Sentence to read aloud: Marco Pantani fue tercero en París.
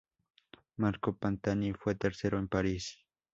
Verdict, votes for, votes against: accepted, 2, 0